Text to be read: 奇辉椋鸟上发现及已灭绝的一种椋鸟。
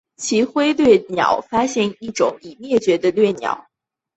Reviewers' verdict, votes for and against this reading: rejected, 2, 2